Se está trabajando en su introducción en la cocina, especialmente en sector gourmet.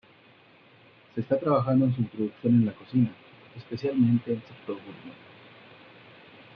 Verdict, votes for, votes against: accepted, 2, 0